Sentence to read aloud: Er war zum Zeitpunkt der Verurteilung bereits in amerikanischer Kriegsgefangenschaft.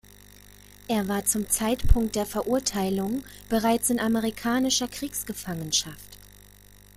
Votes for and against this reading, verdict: 2, 0, accepted